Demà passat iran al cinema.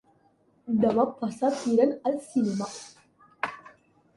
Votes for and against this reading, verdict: 2, 1, accepted